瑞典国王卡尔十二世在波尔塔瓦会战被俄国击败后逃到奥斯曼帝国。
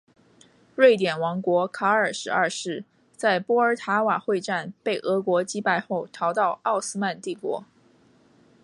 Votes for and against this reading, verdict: 0, 2, rejected